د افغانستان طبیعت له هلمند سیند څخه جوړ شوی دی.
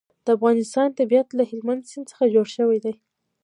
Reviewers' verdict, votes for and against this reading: rejected, 1, 2